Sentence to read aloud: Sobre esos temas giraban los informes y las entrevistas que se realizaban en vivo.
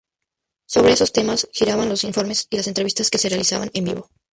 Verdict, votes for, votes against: accepted, 2, 0